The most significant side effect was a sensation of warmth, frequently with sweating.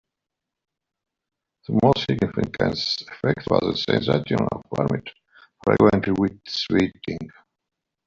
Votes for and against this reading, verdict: 1, 2, rejected